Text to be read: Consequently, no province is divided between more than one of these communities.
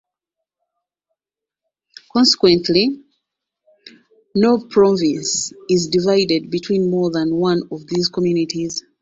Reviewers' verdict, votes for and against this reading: accepted, 2, 0